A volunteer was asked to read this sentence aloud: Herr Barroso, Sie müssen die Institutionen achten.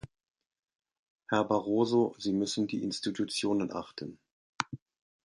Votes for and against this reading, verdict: 2, 0, accepted